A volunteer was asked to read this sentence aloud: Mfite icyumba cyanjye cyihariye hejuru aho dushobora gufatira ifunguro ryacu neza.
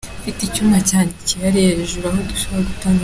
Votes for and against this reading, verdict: 0, 3, rejected